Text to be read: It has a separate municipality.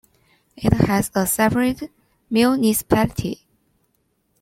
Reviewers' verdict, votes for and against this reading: rejected, 0, 2